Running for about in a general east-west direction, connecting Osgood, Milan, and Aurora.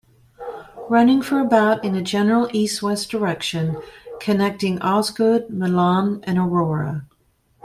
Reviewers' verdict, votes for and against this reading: accepted, 2, 0